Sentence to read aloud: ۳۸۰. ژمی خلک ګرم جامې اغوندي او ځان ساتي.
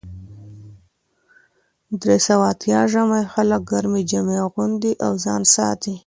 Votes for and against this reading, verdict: 0, 2, rejected